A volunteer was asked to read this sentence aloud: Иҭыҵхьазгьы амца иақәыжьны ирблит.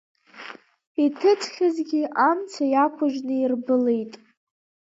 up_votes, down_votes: 2, 0